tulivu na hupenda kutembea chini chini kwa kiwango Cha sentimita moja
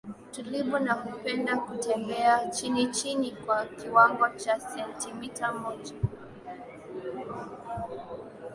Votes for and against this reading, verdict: 2, 0, accepted